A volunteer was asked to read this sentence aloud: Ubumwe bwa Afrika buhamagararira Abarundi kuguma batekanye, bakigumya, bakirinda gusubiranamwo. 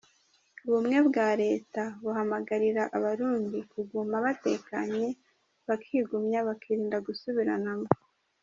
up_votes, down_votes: 0, 2